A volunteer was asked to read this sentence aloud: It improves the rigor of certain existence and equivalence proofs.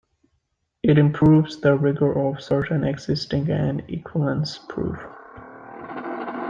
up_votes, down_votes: 0, 2